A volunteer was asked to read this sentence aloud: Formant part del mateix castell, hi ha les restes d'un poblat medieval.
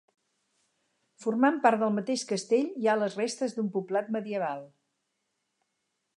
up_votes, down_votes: 4, 0